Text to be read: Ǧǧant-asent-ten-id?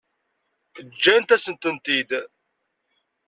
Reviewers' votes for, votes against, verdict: 0, 2, rejected